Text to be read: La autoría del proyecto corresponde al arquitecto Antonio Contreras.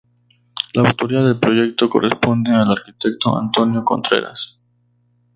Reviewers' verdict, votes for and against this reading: accepted, 4, 0